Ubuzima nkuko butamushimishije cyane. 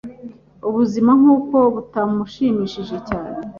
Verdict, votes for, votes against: accepted, 2, 0